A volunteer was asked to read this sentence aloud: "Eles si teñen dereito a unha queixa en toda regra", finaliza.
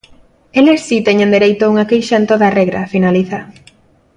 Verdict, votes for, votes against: accepted, 2, 0